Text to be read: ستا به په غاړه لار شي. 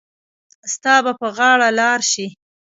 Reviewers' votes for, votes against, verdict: 2, 0, accepted